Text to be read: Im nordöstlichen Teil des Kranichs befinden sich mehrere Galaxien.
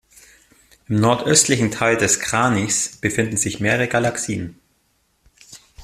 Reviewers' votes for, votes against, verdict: 2, 0, accepted